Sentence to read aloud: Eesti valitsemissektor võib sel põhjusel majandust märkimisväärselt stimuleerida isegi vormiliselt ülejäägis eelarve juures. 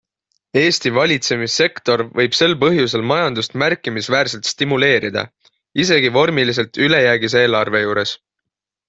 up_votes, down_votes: 6, 0